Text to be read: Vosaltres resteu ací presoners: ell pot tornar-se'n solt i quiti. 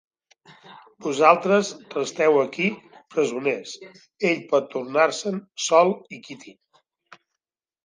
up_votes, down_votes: 0, 2